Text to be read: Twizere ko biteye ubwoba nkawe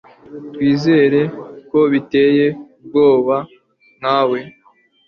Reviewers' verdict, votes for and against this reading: accepted, 3, 0